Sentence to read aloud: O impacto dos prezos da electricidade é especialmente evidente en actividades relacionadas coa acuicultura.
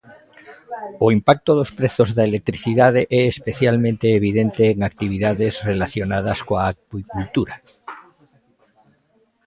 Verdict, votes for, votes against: accepted, 2, 0